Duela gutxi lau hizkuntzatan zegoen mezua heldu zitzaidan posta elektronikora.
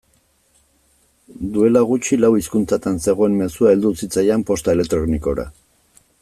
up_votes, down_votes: 2, 0